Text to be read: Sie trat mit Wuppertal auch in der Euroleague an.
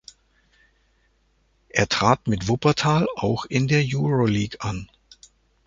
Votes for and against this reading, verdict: 0, 2, rejected